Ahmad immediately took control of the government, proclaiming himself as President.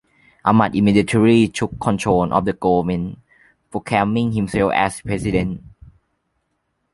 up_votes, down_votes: 2, 0